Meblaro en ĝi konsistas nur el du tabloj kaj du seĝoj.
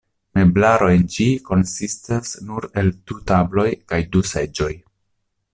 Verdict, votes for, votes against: rejected, 0, 2